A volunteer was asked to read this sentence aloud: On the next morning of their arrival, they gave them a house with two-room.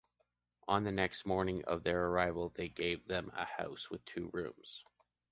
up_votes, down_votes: 1, 2